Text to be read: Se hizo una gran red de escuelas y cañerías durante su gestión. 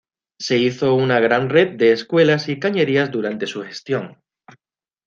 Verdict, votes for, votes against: accepted, 2, 0